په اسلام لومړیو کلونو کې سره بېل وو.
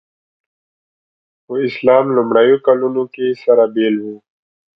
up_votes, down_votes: 2, 0